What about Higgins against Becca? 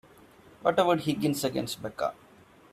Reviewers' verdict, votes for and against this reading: accepted, 2, 0